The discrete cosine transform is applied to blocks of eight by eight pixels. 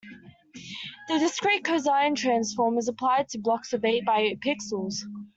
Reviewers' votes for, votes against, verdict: 2, 1, accepted